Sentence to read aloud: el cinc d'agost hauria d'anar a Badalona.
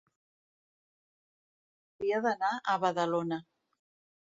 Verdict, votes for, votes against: rejected, 0, 2